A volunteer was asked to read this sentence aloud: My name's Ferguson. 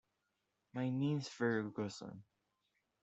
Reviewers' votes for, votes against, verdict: 0, 2, rejected